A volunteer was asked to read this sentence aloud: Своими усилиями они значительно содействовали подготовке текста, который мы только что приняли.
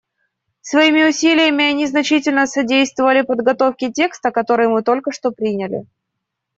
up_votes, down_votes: 2, 0